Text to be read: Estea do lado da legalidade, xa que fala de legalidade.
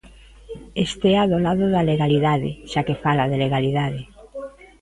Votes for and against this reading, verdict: 1, 2, rejected